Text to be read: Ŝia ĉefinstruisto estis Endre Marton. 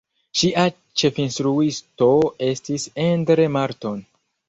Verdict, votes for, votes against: rejected, 1, 2